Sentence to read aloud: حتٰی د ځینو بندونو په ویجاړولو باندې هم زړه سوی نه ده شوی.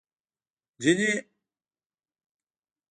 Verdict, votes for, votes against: rejected, 0, 2